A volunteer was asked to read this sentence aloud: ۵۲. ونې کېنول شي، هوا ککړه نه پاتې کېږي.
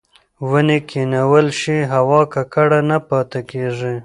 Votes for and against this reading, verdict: 0, 2, rejected